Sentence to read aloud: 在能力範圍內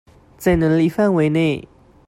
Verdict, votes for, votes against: accepted, 2, 0